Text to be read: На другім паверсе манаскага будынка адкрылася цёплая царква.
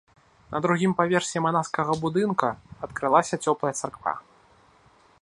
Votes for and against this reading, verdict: 1, 2, rejected